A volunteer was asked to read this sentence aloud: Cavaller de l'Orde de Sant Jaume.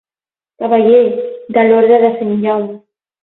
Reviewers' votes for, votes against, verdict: 6, 12, rejected